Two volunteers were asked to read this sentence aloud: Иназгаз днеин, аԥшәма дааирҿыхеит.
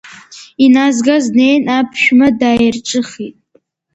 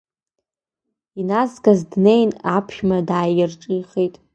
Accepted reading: first